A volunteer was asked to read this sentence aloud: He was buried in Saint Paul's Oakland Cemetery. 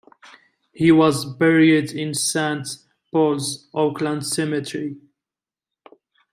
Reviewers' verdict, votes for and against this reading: accepted, 2, 0